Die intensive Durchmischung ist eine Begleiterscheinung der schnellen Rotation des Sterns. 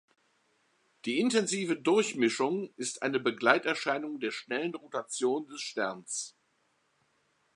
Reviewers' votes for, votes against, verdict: 2, 0, accepted